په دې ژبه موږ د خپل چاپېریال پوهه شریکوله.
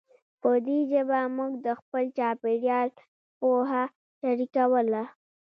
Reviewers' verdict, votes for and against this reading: rejected, 1, 2